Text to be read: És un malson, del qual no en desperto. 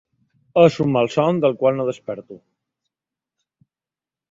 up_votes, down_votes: 1, 2